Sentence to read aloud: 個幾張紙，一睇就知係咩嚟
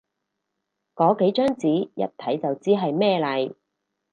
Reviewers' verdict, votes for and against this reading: accepted, 4, 0